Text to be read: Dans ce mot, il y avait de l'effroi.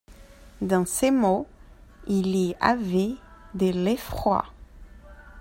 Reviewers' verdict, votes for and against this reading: accepted, 2, 1